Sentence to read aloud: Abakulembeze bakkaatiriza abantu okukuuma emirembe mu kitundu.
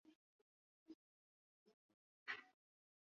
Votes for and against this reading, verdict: 0, 2, rejected